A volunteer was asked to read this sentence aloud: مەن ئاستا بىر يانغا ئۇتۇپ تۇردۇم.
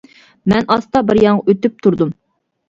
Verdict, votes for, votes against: rejected, 0, 2